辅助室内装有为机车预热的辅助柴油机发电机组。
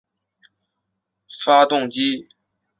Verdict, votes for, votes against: rejected, 1, 2